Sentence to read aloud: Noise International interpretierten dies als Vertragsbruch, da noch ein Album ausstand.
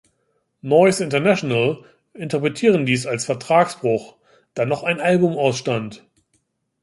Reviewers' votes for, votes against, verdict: 0, 2, rejected